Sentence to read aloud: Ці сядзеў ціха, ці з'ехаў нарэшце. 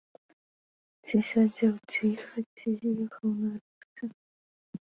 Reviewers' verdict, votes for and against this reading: rejected, 0, 2